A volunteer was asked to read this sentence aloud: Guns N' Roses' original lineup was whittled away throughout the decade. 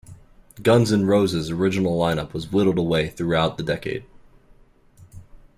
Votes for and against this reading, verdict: 2, 0, accepted